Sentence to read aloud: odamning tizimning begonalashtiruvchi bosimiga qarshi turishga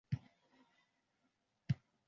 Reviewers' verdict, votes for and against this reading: rejected, 0, 2